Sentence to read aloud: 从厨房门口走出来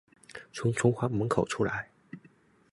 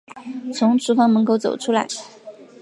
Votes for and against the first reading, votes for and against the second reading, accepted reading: 0, 2, 2, 0, second